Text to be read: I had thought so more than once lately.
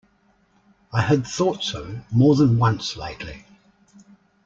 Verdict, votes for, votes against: accepted, 2, 0